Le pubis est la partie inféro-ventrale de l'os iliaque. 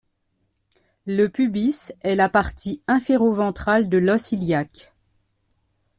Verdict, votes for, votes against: accepted, 2, 0